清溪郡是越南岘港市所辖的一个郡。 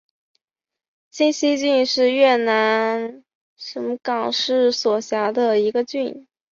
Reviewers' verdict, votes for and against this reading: rejected, 0, 2